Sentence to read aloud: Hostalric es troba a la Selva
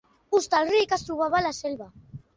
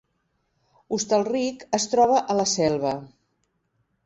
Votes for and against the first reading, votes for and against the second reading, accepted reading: 0, 2, 2, 0, second